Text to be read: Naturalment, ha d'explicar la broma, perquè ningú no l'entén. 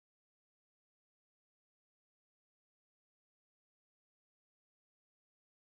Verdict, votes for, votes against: rejected, 1, 2